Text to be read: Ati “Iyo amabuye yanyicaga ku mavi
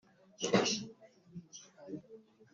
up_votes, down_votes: 0, 2